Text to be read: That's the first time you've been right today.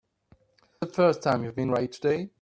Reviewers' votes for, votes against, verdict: 0, 2, rejected